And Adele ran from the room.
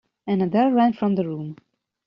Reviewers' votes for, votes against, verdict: 2, 0, accepted